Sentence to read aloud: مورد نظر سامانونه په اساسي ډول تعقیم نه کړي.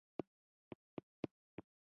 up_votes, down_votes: 0, 3